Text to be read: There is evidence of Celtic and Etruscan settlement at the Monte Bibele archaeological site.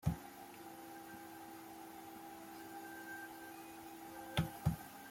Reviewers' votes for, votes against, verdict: 0, 2, rejected